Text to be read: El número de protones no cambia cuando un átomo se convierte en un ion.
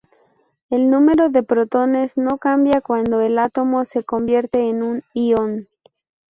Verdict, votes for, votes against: rejected, 2, 2